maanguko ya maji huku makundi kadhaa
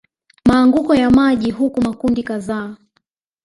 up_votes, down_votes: 0, 2